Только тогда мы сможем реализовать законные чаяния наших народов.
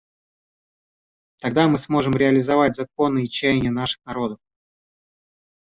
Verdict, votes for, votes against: rejected, 1, 2